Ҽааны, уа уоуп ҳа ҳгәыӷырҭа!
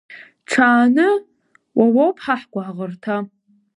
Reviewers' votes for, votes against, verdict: 1, 2, rejected